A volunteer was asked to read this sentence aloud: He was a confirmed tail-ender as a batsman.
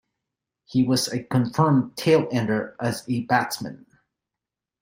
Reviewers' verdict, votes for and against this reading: accepted, 2, 0